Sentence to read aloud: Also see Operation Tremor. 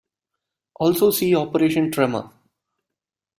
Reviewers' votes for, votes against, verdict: 2, 0, accepted